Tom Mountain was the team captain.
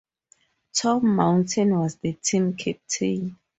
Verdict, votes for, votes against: accepted, 4, 0